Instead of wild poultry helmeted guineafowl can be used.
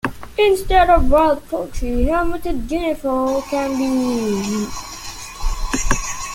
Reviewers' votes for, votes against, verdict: 0, 2, rejected